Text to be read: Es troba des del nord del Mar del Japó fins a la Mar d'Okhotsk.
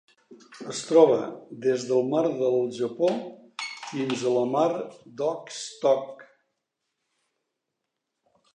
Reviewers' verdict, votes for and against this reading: rejected, 0, 2